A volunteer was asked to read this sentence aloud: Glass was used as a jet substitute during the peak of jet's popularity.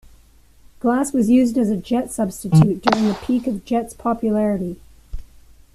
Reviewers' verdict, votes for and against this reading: accepted, 2, 1